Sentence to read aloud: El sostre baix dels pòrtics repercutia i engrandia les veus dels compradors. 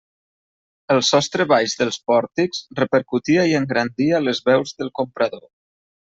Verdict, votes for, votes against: rejected, 0, 2